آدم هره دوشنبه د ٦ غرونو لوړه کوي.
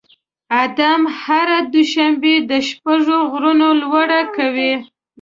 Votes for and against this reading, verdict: 0, 2, rejected